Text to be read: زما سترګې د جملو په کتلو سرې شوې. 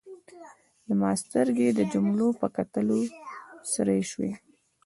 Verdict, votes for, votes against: accepted, 2, 0